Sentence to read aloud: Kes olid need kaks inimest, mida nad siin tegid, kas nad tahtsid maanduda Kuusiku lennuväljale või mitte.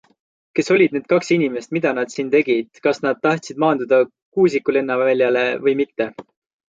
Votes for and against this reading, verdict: 2, 1, accepted